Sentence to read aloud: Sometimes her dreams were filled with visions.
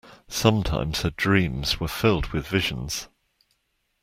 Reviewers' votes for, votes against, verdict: 2, 0, accepted